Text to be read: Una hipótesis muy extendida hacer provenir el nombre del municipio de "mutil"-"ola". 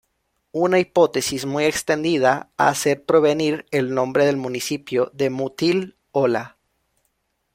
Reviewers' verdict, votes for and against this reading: rejected, 1, 2